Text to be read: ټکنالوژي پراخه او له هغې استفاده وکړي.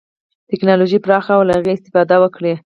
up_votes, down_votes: 4, 0